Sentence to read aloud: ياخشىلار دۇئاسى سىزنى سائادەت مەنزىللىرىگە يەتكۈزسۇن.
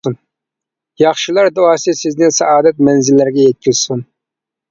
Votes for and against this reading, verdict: 1, 2, rejected